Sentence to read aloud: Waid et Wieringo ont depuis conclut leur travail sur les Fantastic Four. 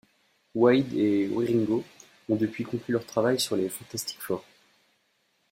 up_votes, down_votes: 1, 2